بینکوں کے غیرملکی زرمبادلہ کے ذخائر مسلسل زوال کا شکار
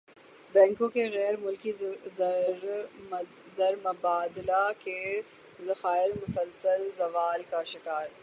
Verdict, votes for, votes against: rejected, 0, 6